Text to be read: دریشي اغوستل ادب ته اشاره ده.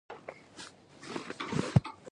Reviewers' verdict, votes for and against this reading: rejected, 1, 2